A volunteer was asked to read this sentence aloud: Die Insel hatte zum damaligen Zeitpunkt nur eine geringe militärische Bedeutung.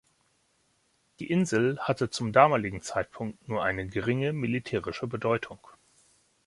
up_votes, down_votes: 2, 0